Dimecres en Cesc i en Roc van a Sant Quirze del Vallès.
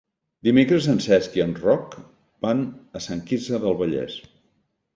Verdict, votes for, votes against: accepted, 3, 0